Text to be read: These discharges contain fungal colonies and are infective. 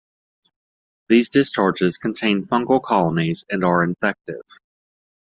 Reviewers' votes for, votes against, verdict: 2, 0, accepted